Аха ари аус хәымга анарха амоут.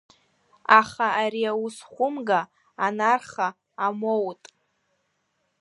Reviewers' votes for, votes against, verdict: 0, 2, rejected